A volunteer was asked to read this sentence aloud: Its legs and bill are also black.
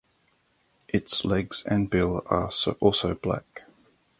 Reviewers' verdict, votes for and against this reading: rejected, 0, 2